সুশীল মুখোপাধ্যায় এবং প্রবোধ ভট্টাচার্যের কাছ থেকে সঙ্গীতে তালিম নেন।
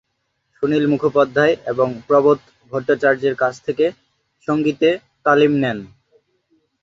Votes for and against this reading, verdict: 2, 2, rejected